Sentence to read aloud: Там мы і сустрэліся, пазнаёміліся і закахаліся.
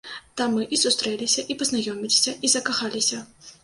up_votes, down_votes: 1, 2